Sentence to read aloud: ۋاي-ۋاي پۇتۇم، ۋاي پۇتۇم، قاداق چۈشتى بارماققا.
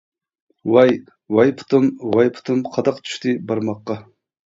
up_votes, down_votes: 1, 2